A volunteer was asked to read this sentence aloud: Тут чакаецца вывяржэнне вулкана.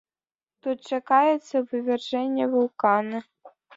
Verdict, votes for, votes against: accepted, 2, 0